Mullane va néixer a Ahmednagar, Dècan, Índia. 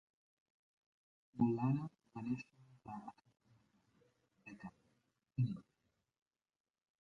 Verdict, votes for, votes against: rejected, 0, 2